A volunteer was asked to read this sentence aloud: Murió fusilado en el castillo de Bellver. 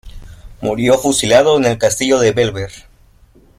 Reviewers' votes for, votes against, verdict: 3, 2, accepted